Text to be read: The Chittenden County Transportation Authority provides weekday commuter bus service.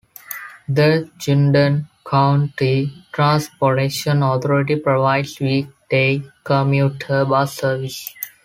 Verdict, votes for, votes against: accepted, 2, 1